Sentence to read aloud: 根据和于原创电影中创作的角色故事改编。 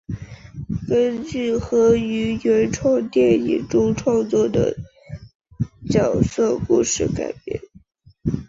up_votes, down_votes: 2, 0